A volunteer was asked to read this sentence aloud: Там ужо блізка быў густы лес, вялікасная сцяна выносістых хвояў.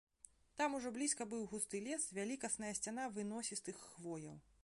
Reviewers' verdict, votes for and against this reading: rejected, 1, 2